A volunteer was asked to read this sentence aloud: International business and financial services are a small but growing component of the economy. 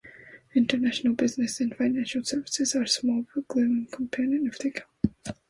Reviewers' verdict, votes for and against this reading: rejected, 1, 2